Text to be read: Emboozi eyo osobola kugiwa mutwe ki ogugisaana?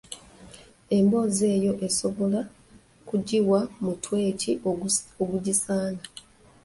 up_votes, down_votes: 1, 2